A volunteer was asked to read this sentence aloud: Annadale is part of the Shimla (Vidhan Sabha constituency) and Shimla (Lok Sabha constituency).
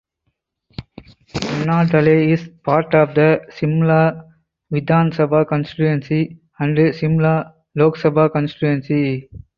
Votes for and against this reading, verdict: 4, 2, accepted